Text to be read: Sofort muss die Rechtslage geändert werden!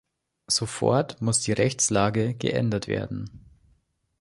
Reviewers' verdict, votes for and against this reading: accepted, 2, 0